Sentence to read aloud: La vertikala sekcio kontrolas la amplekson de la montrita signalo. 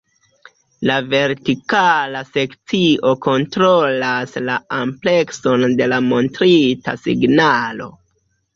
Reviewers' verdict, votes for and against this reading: rejected, 0, 2